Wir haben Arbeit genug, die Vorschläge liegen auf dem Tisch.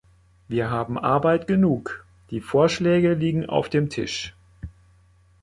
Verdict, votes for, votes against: accepted, 2, 0